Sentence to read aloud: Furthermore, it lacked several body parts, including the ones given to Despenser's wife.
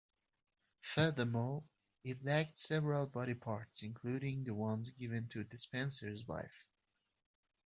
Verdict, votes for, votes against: accepted, 2, 0